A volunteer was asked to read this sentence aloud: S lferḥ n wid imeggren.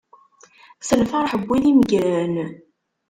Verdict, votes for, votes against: rejected, 1, 2